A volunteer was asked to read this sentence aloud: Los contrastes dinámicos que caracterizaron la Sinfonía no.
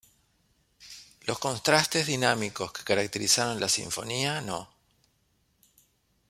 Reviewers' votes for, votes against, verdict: 2, 0, accepted